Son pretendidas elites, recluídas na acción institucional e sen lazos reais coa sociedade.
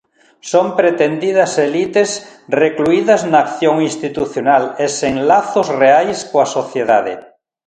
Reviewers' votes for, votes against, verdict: 2, 0, accepted